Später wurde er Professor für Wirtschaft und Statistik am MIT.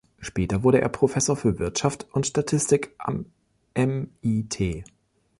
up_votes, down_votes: 0, 3